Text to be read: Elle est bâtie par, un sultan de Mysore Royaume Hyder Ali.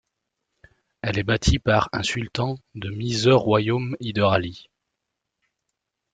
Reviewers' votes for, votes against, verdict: 2, 0, accepted